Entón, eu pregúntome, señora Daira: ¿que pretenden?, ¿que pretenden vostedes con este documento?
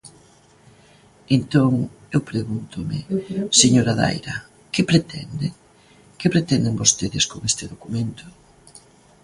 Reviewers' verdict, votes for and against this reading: accepted, 2, 0